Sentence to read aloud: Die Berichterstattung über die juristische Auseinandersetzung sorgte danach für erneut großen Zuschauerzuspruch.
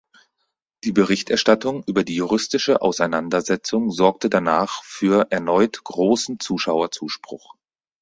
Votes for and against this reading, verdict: 4, 0, accepted